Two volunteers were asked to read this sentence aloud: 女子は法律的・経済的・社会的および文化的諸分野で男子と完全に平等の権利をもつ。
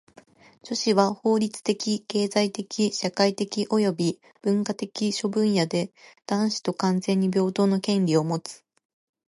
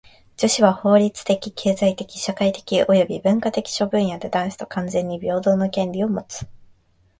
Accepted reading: second